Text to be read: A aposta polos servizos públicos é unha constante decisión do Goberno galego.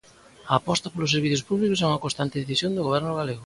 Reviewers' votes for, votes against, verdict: 2, 0, accepted